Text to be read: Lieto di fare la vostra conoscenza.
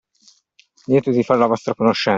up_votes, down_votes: 0, 2